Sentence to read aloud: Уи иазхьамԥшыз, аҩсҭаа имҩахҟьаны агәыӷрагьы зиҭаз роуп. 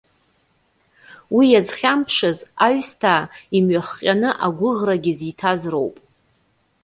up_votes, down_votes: 2, 0